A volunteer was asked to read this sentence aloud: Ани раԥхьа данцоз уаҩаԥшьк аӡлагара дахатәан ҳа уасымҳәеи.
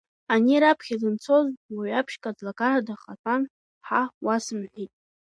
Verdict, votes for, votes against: accepted, 2, 1